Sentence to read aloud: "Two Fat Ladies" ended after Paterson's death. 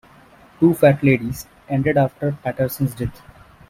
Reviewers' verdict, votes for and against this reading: accepted, 2, 0